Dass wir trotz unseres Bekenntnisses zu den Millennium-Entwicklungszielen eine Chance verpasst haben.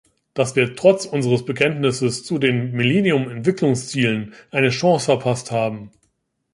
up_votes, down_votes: 1, 2